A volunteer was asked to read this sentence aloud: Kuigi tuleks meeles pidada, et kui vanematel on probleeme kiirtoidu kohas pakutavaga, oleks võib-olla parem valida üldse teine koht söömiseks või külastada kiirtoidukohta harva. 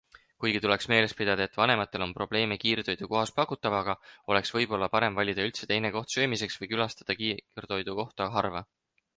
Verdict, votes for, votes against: accepted, 4, 0